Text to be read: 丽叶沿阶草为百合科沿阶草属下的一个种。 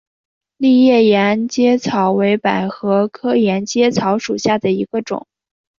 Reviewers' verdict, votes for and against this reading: accepted, 2, 0